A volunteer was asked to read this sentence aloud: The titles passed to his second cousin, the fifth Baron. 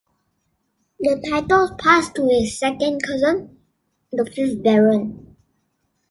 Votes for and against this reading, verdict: 2, 0, accepted